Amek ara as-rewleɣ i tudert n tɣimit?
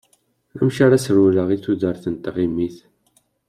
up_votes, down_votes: 2, 0